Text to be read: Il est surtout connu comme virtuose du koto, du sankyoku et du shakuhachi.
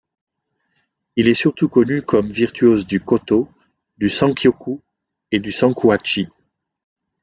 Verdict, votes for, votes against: rejected, 1, 2